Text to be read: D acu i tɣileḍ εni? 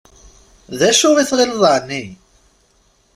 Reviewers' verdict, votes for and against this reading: accepted, 2, 0